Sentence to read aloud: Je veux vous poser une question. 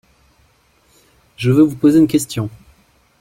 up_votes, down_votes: 2, 0